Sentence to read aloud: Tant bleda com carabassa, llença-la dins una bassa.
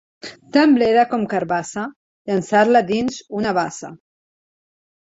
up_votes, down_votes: 0, 3